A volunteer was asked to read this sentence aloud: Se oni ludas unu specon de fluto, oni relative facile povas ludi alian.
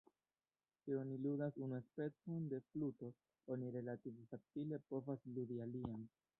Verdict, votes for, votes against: rejected, 1, 2